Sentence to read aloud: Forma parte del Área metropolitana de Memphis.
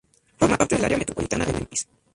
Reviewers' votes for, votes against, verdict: 0, 4, rejected